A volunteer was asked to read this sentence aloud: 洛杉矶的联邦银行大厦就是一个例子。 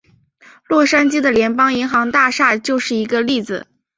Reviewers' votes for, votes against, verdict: 5, 0, accepted